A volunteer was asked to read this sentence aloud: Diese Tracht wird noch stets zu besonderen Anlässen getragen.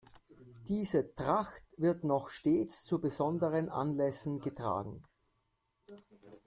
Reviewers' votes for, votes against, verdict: 2, 0, accepted